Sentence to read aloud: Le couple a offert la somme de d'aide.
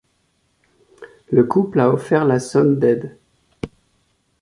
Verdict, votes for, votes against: rejected, 0, 2